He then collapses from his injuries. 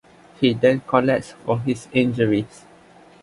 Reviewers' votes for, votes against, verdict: 1, 2, rejected